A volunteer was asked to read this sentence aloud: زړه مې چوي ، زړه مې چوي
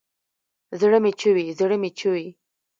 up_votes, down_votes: 0, 2